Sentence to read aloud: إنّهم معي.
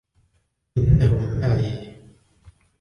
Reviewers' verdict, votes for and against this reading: rejected, 1, 2